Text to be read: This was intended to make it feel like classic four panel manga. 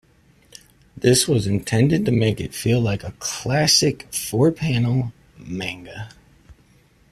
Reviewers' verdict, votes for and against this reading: rejected, 0, 2